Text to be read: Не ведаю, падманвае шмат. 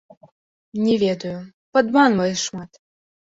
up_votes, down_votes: 2, 0